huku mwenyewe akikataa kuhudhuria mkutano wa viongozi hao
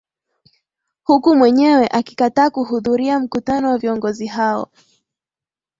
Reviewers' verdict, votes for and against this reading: rejected, 1, 2